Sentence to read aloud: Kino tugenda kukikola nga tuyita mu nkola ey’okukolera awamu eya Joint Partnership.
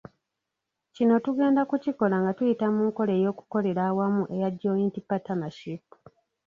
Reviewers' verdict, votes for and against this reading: rejected, 0, 2